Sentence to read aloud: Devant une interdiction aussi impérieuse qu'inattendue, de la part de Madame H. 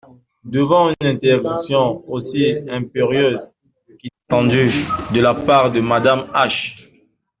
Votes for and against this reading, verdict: 0, 2, rejected